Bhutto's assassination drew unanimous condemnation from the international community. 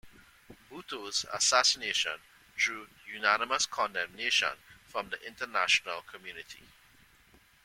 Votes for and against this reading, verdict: 2, 0, accepted